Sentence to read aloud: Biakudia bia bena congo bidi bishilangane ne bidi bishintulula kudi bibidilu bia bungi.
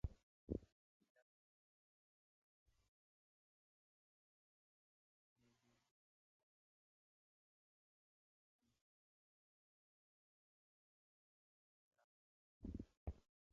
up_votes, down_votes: 0, 2